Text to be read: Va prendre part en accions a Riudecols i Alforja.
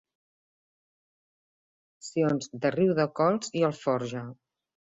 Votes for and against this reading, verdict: 1, 2, rejected